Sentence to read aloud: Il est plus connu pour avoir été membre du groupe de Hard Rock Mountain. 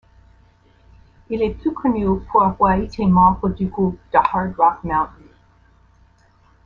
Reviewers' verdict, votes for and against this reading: rejected, 1, 2